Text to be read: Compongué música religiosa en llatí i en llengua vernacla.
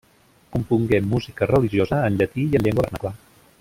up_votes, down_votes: 1, 2